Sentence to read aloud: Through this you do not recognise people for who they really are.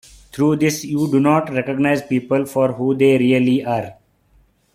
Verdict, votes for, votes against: rejected, 1, 2